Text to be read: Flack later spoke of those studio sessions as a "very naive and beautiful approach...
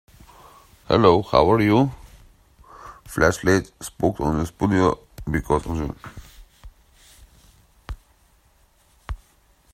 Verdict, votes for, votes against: rejected, 0, 2